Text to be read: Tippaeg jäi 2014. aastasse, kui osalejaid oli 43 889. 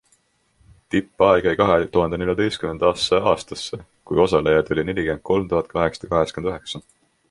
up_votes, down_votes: 0, 2